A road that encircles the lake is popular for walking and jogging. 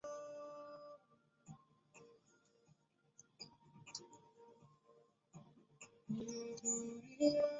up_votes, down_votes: 0, 2